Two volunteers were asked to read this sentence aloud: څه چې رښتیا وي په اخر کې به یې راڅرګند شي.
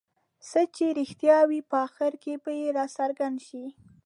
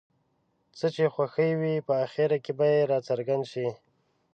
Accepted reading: first